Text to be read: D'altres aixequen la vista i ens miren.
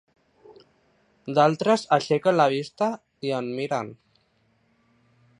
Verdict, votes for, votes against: rejected, 0, 2